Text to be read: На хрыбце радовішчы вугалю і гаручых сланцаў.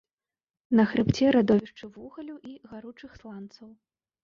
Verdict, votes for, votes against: rejected, 0, 2